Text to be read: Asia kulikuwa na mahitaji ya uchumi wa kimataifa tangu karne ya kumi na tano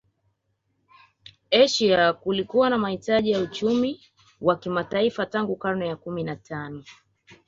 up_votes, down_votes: 2, 1